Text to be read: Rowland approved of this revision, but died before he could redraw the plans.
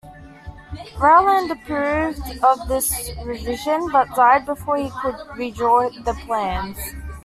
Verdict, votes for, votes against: accepted, 2, 1